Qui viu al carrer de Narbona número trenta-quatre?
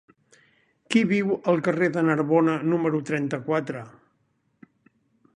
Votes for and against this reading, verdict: 3, 0, accepted